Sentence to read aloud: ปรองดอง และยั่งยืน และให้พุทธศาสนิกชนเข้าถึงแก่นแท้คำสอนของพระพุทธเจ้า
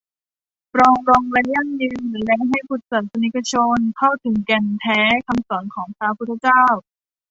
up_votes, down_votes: 2, 0